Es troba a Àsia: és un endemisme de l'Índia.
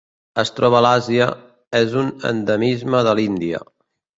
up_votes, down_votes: 1, 2